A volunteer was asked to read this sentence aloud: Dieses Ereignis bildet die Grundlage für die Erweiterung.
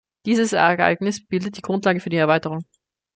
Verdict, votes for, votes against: rejected, 1, 2